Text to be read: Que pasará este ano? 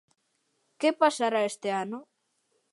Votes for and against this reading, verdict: 2, 0, accepted